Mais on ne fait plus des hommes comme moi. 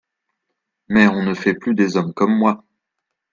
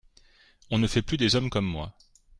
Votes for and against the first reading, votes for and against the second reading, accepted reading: 2, 0, 0, 2, first